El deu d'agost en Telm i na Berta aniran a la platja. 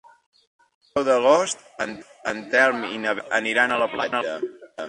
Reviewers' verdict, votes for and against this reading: rejected, 0, 2